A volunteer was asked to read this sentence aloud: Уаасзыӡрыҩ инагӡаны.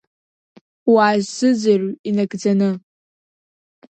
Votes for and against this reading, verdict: 2, 0, accepted